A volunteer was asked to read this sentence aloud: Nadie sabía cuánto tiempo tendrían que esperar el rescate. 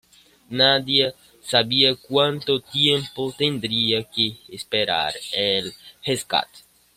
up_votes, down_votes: 2, 0